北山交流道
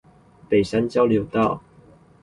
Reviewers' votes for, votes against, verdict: 0, 2, rejected